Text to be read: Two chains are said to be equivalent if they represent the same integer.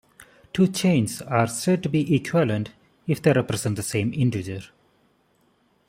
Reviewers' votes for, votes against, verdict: 1, 2, rejected